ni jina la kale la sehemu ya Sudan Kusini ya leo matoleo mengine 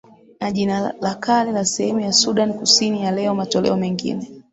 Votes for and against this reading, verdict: 2, 3, rejected